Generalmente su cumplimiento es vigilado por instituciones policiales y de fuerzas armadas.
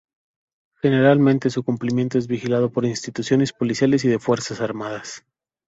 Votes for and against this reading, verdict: 2, 0, accepted